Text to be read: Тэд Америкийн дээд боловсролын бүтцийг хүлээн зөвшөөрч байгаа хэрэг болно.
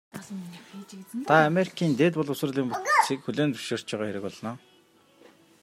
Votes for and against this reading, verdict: 0, 2, rejected